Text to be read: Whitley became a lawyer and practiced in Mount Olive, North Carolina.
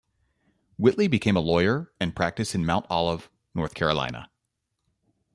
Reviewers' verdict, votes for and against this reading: accepted, 2, 0